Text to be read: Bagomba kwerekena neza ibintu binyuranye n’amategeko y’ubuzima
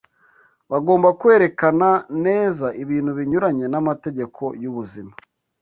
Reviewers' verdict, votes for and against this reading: accepted, 2, 0